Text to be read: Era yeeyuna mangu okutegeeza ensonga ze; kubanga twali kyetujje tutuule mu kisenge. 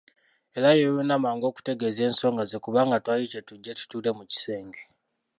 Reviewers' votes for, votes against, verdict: 0, 2, rejected